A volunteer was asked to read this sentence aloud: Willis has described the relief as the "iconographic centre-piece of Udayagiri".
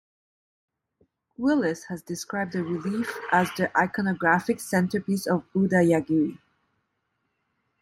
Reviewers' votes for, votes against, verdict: 0, 2, rejected